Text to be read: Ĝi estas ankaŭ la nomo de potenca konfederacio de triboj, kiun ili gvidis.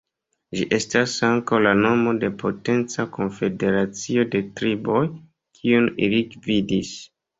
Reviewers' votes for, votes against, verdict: 2, 0, accepted